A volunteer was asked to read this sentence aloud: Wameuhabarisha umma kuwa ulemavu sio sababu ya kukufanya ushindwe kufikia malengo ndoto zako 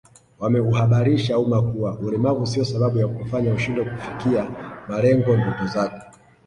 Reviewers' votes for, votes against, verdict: 1, 2, rejected